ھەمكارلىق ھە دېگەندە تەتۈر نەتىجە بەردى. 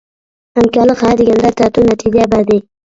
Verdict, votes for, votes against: rejected, 0, 2